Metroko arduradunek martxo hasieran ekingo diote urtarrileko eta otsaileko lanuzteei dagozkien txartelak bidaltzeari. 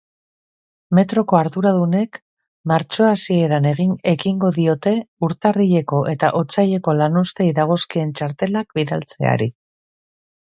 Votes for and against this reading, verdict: 1, 3, rejected